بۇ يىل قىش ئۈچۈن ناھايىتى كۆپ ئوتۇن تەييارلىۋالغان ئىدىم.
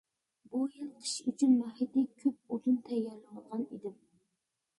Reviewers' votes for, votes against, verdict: 0, 2, rejected